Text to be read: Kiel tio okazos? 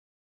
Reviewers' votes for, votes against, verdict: 1, 2, rejected